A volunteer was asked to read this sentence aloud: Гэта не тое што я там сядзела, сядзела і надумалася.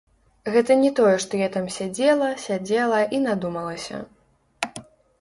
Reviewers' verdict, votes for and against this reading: rejected, 1, 2